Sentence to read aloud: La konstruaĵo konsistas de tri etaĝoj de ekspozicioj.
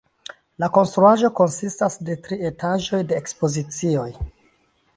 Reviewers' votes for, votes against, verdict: 2, 0, accepted